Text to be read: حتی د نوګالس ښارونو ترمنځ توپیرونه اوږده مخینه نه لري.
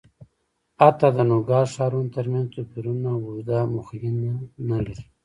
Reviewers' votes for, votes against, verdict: 0, 2, rejected